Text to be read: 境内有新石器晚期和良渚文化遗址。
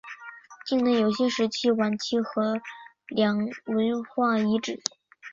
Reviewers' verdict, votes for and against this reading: rejected, 0, 2